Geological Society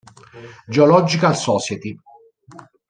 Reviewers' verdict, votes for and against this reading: rejected, 1, 2